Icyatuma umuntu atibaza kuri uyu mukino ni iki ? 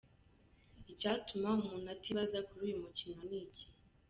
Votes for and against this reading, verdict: 2, 1, accepted